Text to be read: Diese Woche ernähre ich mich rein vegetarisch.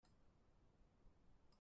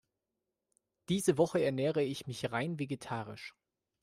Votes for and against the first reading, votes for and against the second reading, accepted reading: 0, 2, 2, 0, second